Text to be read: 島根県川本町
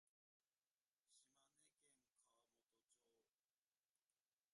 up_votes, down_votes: 0, 2